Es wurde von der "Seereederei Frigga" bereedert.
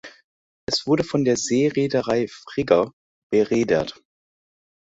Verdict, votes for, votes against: accepted, 2, 0